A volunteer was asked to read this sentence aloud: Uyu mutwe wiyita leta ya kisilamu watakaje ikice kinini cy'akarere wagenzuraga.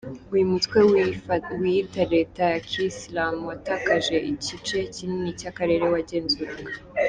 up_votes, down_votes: 1, 2